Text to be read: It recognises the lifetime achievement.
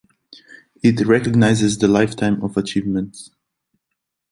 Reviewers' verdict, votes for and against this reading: rejected, 0, 2